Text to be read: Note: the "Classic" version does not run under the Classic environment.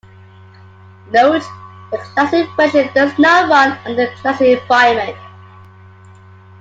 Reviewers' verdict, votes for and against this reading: rejected, 1, 2